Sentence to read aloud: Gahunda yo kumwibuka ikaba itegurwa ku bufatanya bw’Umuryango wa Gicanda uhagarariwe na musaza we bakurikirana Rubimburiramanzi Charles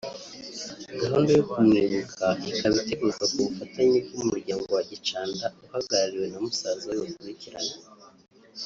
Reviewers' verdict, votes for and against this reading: rejected, 1, 2